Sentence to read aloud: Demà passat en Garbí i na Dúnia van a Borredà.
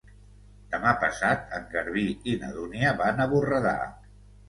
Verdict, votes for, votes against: accepted, 2, 0